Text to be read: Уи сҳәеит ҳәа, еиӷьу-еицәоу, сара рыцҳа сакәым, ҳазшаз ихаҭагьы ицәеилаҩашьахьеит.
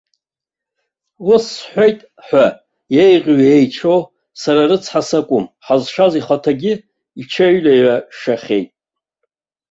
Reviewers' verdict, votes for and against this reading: rejected, 0, 2